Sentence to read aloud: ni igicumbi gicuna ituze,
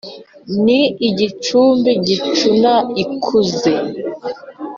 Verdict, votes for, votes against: rejected, 1, 2